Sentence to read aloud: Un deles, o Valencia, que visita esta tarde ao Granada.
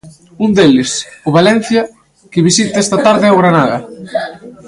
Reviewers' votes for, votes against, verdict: 1, 2, rejected